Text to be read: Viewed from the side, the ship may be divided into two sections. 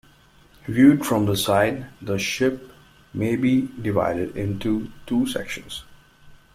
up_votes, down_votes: 2, 0